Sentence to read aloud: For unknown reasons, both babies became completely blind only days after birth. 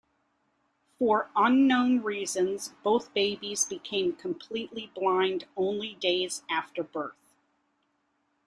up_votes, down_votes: 2, 0